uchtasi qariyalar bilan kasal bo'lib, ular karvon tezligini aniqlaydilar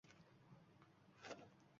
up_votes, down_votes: 1, 2